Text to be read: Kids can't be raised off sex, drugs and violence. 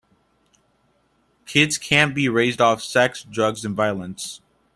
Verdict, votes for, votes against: accepted, 2, 0